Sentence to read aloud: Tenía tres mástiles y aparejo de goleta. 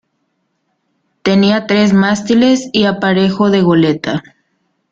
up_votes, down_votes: 2, 0